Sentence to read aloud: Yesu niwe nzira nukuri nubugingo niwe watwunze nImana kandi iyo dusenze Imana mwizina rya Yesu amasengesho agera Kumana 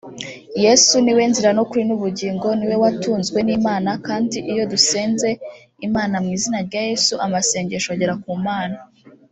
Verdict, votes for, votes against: rejected, 1, 2